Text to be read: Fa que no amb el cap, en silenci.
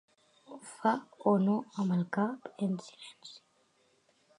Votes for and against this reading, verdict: 3, 4, rejected